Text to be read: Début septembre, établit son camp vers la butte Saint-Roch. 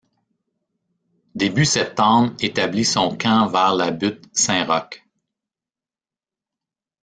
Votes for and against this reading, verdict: 0, 2, rejected